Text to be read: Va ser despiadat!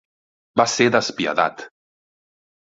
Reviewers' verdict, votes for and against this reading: accepted, 2, 0